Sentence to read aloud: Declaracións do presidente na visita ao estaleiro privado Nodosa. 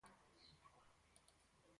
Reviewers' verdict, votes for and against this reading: rejected, 0, 4